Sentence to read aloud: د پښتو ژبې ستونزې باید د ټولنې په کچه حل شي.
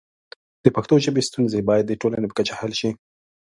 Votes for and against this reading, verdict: 2, 0, accepted